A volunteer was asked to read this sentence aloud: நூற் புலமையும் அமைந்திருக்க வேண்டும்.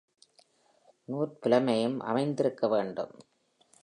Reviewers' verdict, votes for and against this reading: accepted, 2, 1